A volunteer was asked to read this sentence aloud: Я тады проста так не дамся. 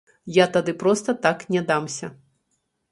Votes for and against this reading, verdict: 0, 2, rejected